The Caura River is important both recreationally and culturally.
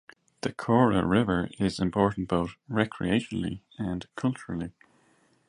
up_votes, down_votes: 2, 0